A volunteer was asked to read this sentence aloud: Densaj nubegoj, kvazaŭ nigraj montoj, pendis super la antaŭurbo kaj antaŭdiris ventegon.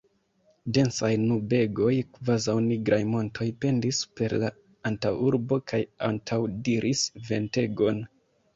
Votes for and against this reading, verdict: 2, 0, accepted